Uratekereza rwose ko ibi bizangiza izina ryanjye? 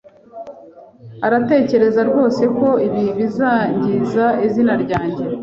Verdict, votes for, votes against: rejected, 0, 2